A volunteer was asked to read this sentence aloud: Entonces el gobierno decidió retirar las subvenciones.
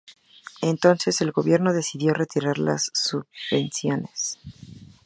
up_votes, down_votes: 0, 2